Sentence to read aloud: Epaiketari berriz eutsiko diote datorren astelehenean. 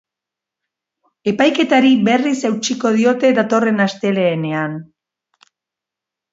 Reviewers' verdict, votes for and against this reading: accepted, 2, 0